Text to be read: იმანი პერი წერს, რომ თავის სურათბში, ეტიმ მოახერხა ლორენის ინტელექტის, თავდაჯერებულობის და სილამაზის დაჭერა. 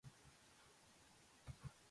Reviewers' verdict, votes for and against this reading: rejected, 0, 2